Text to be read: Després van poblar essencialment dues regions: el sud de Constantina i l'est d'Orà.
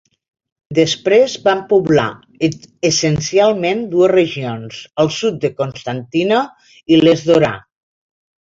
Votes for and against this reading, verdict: 1, 2, rejected